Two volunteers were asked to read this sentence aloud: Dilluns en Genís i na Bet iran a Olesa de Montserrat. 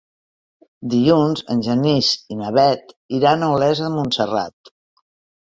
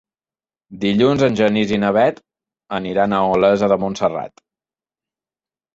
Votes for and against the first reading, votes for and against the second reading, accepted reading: 2, 0, 0, 2, first